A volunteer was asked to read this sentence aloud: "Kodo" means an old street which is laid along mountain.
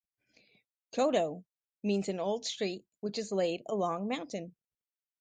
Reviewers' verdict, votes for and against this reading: accepted, 2, 0